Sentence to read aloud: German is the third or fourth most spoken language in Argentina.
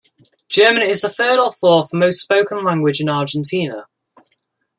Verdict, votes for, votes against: accepted, 2, 0